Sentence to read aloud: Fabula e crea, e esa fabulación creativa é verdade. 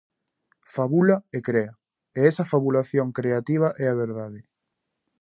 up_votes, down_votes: 0, 2